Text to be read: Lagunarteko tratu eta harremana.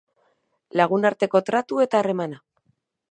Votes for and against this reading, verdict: 2, 2, rejected